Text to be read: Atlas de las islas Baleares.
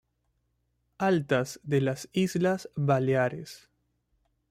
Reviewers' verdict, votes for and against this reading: rejected, 1, 2